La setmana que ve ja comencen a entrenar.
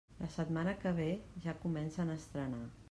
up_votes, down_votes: 0, 2